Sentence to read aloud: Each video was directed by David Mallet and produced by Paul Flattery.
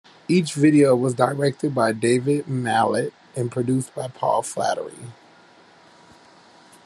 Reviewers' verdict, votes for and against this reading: accepted, 2, 0